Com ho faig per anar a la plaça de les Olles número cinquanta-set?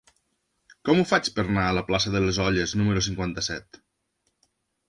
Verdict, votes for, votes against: rejected, 0, 2